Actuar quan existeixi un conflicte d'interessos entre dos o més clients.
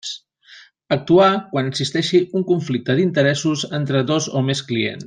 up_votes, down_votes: 0, 2